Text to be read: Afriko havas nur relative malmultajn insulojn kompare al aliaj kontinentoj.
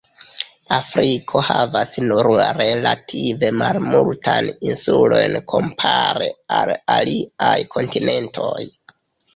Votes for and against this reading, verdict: 2, 1, accepted